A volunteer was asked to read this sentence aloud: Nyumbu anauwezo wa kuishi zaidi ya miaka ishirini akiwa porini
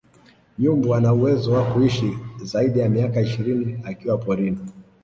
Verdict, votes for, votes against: rejected, 1, 2